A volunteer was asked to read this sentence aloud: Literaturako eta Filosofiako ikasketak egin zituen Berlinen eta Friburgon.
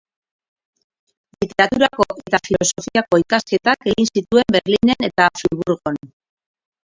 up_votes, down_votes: 0, 2